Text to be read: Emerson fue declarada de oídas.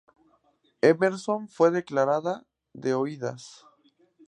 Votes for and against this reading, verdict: 2, 0, accepted